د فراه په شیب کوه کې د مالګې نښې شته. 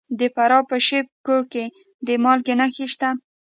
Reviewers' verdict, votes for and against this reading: rejected, 1, 2